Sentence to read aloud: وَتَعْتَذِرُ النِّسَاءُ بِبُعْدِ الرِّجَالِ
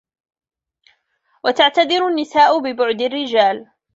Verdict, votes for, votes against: rejected, 1, 2